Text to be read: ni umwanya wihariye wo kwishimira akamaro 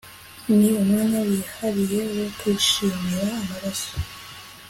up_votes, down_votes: 0, 2